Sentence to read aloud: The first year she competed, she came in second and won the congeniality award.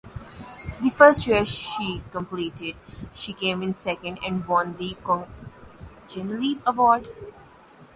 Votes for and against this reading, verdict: 0, 2, rejected